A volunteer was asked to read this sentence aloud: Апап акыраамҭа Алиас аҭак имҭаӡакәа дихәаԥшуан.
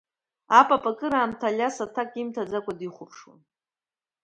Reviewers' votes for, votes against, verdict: 2, 0, accepted